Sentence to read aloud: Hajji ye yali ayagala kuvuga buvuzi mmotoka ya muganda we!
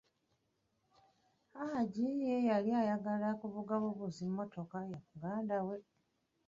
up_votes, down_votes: 1, 2